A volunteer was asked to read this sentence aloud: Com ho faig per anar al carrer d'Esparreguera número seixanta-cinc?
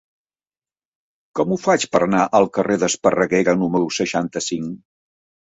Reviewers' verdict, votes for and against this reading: accepted, 3, 0